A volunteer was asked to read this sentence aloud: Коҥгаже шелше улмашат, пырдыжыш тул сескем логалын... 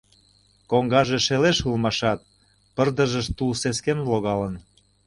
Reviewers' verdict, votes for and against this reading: rejected, 0, 2